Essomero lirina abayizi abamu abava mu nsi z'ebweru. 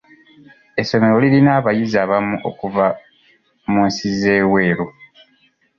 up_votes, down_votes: 1, 2